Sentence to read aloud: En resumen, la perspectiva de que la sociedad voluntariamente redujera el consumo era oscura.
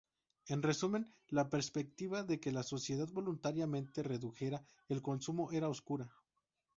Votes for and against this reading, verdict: 2, 0, accepted